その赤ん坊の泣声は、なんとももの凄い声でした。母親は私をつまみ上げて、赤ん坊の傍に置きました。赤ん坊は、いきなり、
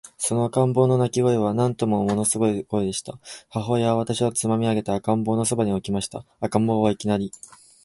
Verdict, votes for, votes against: accepted, 2, 0